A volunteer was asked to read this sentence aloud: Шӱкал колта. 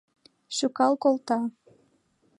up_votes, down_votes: 2, 0